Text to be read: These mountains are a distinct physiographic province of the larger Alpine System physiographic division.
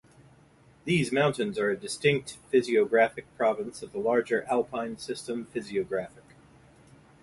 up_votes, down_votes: 0, 2